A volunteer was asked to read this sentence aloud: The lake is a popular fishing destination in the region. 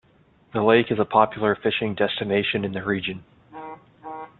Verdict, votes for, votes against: accepted, 2, 0